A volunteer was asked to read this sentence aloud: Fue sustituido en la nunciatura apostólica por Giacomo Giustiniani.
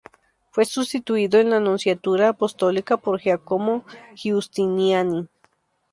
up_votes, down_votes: 2, 2